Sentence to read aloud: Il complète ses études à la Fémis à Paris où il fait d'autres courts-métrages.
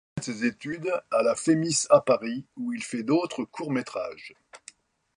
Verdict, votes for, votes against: rejected, 0, 2